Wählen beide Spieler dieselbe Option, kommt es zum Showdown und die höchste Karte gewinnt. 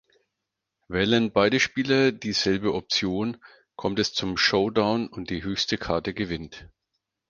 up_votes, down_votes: 4, 0